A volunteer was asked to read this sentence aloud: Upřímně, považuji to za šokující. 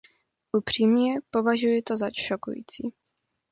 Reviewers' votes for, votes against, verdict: 2, 0, accepted